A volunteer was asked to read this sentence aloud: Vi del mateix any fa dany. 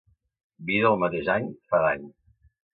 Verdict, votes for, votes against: accepted, 2, 0